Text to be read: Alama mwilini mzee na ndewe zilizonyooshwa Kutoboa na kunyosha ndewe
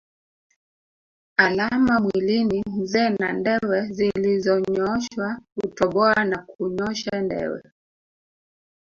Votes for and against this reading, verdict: 1, 2, rejected